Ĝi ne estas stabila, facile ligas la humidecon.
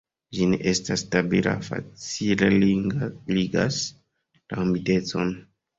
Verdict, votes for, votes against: rejected, 1, 2